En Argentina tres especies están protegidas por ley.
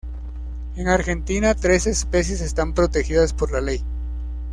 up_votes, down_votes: 1, 2